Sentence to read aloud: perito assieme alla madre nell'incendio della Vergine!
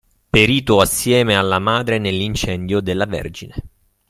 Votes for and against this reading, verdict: 2, 0, accepted